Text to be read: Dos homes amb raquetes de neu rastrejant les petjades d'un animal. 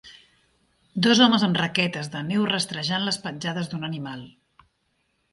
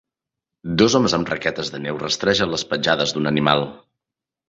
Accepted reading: first